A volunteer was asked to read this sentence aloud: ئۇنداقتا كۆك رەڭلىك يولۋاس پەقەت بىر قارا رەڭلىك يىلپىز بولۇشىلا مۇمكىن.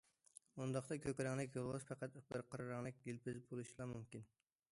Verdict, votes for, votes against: rejected, 1, 2